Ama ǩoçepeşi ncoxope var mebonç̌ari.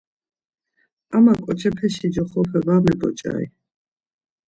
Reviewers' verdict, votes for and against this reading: accepted, 2, 0